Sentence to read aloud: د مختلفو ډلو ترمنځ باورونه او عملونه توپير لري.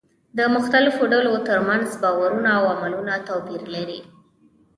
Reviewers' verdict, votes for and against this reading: rejected, 0, 2